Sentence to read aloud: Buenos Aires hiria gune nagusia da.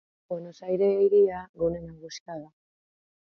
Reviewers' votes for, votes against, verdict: 0, 3, rejected